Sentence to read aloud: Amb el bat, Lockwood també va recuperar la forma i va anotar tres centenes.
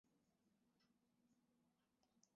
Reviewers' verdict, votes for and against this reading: rejected, 0, 2